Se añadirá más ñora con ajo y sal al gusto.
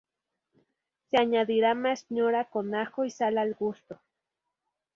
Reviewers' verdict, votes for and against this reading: rejected, 0, 2